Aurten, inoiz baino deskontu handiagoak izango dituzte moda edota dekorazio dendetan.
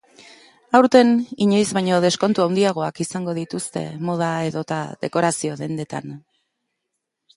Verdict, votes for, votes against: rejected, 1, 2